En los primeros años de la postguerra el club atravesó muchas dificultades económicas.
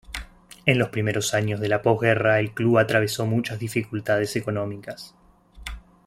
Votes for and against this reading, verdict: 2, 0, accepted